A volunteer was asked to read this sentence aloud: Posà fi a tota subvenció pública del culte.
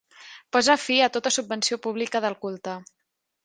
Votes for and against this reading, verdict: 1, 2, rejected